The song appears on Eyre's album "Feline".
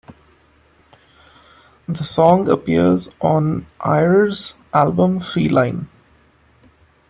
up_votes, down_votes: 2, 0